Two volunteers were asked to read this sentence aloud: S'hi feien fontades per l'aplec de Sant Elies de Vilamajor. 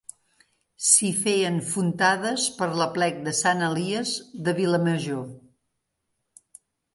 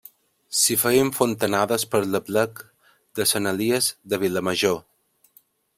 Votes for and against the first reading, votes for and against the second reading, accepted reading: 2, 0, 1, 3, first